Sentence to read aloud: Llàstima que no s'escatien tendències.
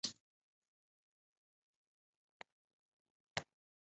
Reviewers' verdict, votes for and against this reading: rejected, 0, 2